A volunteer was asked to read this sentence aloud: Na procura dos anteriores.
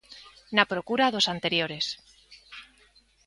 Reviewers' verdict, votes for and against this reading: accepted, 2, 0